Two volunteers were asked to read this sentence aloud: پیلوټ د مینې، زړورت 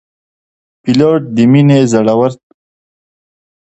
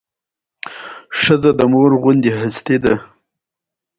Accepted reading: first